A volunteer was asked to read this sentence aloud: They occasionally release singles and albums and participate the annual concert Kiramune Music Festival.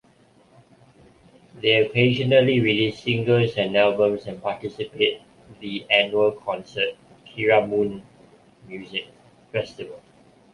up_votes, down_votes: 2, 1